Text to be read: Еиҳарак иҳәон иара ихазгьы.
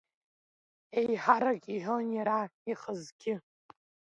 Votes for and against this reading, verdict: 2, 1, accepted